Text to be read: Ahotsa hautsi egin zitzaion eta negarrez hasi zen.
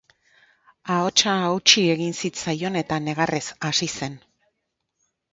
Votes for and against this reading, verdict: 4, 0, accepted